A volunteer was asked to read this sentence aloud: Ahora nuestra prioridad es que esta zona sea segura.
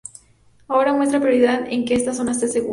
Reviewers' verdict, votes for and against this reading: rejected, 0, 2